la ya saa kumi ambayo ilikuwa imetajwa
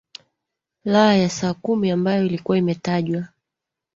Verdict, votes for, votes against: rejected, 1, 2